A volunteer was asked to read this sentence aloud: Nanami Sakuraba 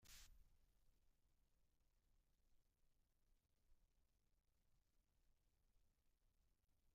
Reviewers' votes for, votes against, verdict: 0, 3, rejected